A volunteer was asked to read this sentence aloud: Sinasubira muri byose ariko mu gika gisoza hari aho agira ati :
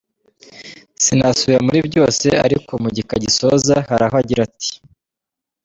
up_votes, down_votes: 2, 0